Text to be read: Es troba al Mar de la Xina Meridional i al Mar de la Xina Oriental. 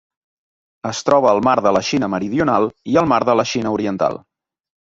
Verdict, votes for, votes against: accepted, 4, 0